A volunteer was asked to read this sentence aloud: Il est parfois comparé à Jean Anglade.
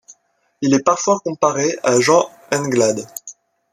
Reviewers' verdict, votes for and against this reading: rejected, 0, 2